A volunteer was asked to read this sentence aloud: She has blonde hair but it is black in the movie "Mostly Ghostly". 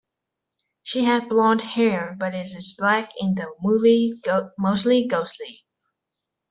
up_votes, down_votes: 0, 2